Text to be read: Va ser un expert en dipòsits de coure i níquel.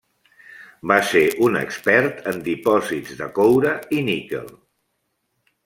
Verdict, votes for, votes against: accepted, 3, 0